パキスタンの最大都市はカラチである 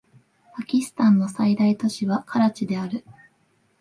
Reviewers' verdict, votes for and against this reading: accepted, 2, 0